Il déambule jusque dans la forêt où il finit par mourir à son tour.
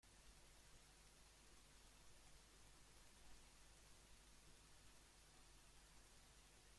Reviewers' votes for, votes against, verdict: 0, 2, rejected